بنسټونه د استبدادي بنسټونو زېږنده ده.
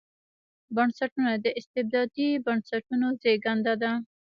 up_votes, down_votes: 0, 2